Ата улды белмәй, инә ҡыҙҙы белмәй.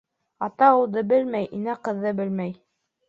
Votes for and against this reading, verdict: 2, 1, accepted